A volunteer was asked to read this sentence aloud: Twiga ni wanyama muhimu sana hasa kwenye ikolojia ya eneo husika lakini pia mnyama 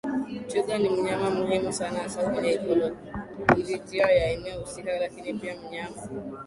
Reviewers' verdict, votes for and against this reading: accepted, 6, 4